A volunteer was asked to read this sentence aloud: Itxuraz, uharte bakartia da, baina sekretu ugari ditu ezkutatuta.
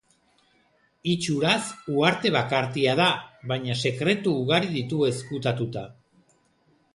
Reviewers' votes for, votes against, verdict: 2, 0, accepted